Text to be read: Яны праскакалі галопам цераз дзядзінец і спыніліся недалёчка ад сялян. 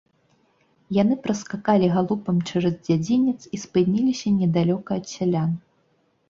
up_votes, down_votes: 1, 2